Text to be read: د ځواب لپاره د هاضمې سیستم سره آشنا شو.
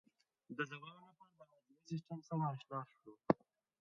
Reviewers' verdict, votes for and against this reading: rejected, 0, 2